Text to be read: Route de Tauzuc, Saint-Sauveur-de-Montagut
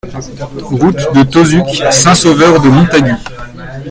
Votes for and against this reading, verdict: 2, 3, rejected